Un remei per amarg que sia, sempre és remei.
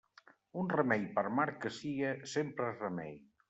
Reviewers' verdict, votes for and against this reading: accepted, 2, 1